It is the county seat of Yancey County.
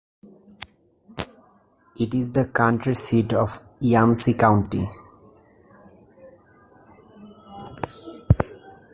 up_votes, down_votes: 0, 2